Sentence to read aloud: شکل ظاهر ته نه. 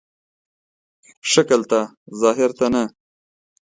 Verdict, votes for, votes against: rejected, 2, 3